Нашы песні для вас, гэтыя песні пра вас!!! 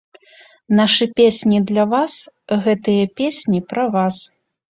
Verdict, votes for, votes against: accepted, 2, 0